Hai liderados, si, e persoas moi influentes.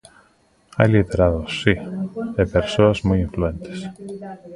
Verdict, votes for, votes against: rejected, 1, 2